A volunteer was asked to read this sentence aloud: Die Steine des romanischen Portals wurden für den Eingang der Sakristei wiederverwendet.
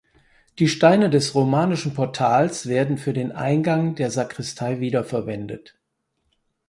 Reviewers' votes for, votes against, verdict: 0, 4, rejected